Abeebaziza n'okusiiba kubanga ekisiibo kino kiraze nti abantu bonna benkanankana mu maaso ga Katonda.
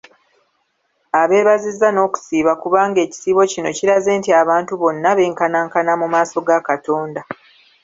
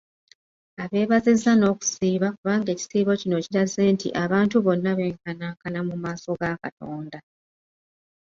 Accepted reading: second